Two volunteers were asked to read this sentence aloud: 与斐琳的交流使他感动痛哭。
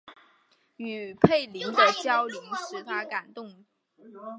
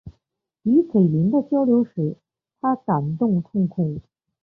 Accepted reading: first